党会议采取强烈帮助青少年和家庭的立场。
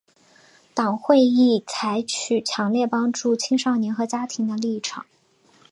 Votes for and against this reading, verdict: 2, 0, accepted